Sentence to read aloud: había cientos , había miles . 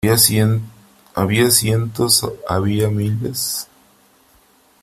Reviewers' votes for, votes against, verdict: 0, 3, rejected